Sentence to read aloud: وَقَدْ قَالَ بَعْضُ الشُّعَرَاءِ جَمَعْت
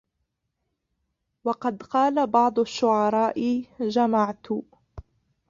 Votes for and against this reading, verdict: 0, 2, rejected